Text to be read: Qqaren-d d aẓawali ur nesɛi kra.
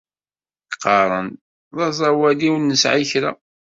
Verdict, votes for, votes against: accepted, 2, 0